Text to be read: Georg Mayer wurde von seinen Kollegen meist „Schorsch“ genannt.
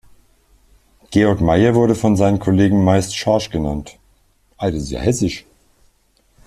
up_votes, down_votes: 0, 2